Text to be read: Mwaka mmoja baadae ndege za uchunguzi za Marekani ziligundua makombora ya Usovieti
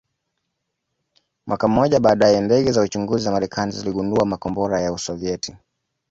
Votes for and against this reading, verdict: 2, 0, accepted